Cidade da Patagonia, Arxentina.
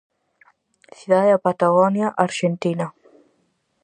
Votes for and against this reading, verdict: 4, 0, accepted